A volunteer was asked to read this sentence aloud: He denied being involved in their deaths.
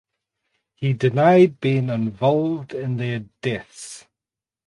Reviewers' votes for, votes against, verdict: 2, 0, accepted